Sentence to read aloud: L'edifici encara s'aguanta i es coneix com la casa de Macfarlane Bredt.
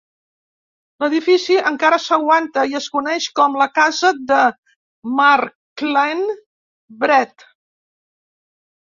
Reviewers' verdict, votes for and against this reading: rejected, 1, 2